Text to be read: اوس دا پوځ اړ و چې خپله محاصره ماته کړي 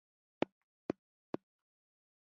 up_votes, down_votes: 2, 1